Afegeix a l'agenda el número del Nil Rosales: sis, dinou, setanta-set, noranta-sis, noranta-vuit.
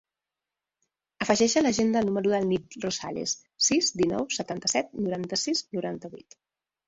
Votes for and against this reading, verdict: 0, 2, rejected